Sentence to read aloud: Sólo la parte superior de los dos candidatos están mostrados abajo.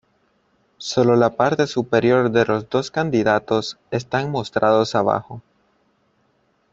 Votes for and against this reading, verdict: 2, 0, accepted